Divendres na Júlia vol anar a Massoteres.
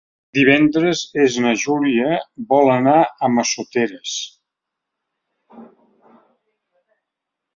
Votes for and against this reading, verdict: 0, 2, rejected